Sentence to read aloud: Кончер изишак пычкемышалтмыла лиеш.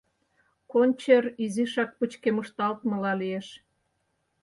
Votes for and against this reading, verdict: 0, 4, rejected